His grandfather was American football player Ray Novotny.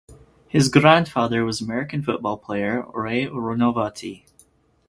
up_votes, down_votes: 0, 2